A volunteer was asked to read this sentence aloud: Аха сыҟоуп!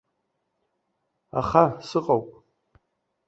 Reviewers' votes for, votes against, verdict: 2, 0, accepted